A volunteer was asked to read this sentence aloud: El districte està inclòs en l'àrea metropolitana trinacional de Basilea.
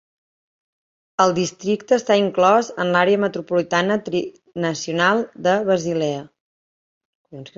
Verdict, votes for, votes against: rejected, 1, 2